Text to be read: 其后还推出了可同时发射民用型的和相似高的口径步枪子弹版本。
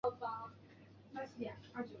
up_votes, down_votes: 1, 5